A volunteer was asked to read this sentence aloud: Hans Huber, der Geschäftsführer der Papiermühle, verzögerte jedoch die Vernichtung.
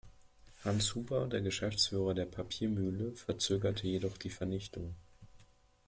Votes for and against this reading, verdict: 2, 0, accepted